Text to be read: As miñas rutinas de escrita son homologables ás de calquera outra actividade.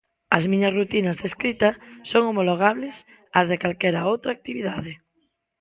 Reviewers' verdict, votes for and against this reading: accepted, 2, 0